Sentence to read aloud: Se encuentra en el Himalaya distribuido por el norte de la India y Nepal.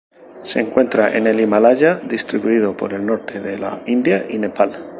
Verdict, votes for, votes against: accepted, 4, 0